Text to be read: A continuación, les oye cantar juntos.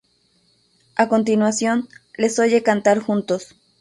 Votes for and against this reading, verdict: 0, 2, rejected